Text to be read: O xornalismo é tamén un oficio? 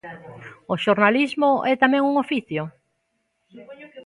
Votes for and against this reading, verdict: 2, 0, accepted